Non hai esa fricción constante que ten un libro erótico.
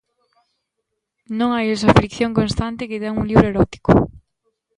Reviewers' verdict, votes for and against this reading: accepted, 2, 1